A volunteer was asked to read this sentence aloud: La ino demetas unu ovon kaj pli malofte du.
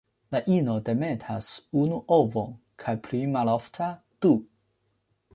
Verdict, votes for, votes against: rejected, 1, 2